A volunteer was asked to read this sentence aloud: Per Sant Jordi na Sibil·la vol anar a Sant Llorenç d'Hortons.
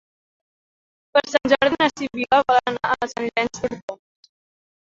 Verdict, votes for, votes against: rejected, 0, 4